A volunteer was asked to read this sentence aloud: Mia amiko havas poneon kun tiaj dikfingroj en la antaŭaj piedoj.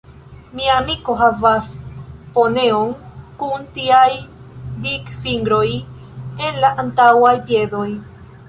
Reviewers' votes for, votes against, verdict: 2, 1, accepted